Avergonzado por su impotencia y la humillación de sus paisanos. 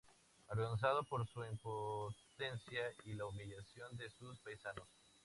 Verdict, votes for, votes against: rejected, 0, 2